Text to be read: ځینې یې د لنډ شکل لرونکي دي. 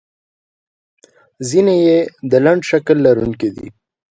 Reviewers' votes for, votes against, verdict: 2, 0, accepted